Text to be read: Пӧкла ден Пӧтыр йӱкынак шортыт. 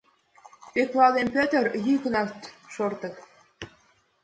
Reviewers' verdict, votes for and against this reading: rejected, 1, 2